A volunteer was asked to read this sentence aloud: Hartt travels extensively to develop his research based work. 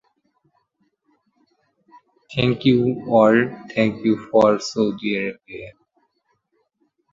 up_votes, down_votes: 0, 2